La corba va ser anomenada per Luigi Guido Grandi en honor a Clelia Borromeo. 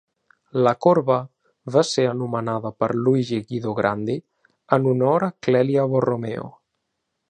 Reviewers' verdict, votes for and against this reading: accepted, 2, 0